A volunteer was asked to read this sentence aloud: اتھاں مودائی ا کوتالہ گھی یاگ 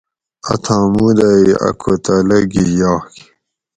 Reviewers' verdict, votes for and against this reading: accepted, 4, 0